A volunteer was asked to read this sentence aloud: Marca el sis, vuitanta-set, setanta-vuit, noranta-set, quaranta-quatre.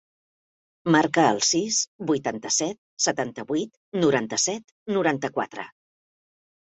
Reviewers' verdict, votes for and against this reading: rejected, 1, 2